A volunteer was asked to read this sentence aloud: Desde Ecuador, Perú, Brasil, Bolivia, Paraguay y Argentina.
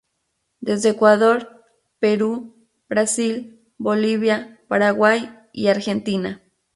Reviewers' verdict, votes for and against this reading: accepted, 2, 0